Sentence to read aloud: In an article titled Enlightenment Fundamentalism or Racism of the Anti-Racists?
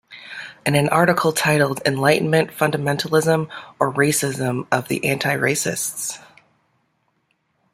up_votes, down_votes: 2, 0